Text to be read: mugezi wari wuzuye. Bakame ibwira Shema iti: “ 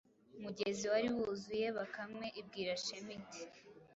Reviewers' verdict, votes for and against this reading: accepted, 2, 0